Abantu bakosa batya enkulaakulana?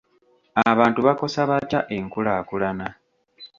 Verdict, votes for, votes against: accepted, 2, 0